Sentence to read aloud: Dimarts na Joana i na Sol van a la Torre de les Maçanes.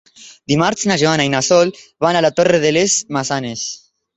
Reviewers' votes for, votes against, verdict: 2, 0, accepted